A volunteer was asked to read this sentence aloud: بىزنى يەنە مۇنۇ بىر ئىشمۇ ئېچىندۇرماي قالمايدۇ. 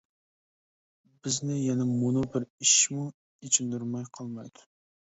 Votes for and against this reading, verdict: 2, 0, accepted